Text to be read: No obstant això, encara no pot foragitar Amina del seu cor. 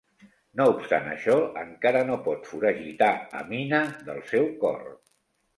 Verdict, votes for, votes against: accepted, 2, 0